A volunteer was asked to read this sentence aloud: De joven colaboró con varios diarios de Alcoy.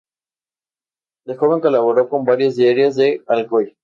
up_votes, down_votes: 2, 0